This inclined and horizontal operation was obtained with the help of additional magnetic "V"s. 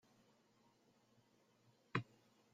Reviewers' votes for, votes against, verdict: 0, 2, rejected